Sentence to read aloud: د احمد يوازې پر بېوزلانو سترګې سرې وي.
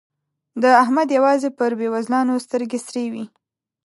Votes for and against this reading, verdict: 2, 0, accepted